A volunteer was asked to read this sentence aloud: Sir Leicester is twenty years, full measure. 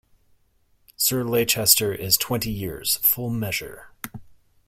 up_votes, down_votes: 0, 2